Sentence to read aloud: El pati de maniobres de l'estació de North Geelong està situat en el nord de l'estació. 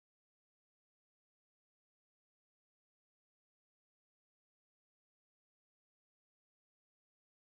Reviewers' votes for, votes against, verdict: 0, 2, rejected